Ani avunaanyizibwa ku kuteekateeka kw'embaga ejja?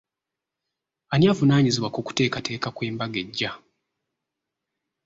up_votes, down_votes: 4, 0